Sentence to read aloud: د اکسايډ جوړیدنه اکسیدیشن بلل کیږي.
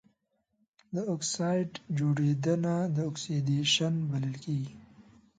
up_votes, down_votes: 1, 2